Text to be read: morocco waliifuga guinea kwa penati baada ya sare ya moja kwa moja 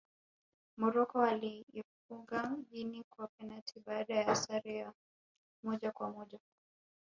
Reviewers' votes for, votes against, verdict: 3, 1, accepted